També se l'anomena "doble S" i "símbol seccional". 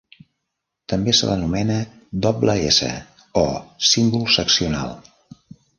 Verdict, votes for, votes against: rejected, 1, 2